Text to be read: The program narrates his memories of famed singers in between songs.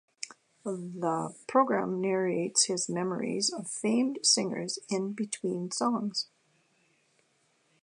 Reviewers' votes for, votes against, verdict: 2, 0, accepted